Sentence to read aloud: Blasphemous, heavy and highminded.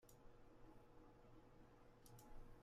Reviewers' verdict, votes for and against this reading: rejected, 0, 2